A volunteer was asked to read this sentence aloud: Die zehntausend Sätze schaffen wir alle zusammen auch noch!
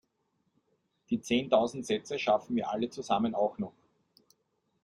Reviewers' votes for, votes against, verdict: 2, 0, accepted